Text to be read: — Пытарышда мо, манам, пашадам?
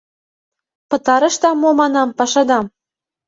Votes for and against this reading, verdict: 2, 0, accepted